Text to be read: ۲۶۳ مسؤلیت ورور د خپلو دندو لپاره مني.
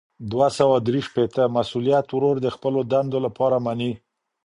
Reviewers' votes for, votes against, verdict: 0, 2, rejected